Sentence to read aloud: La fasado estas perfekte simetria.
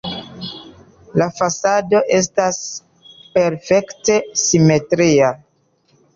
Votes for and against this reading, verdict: 0, 2, rejected